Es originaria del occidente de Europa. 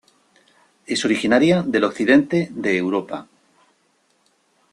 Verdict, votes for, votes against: accepted, 2, 0